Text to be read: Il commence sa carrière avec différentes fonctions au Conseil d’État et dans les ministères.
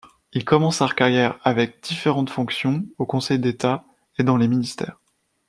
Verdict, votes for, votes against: rejected, 0, 2